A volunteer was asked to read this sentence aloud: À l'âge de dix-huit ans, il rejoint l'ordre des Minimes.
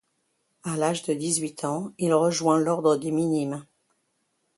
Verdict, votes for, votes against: accepted, 2, 0